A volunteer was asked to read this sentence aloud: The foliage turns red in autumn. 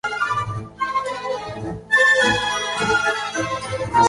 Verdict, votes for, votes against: rejected, 0, 4